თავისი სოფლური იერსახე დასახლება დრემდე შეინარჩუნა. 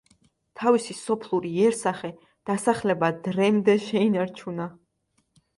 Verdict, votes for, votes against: rejected, 1, 2